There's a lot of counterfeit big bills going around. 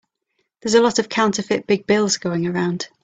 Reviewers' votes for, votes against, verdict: 3, 0, accepted